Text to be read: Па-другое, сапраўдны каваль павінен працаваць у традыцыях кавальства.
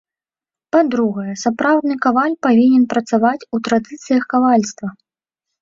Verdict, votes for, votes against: rejected, 1, 3